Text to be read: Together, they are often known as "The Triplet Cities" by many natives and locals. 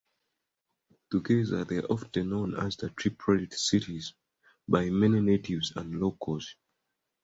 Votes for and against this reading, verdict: 2, 1, accepted